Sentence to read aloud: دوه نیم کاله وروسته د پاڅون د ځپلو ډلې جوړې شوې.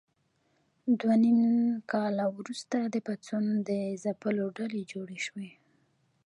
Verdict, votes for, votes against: rejected, 1, 2